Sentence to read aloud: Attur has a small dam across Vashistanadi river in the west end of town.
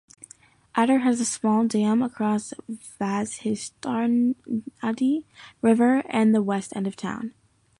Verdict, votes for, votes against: rejected, 1, 2